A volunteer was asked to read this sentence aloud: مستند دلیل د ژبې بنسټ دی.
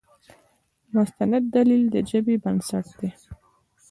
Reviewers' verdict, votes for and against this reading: accepted, 2, 0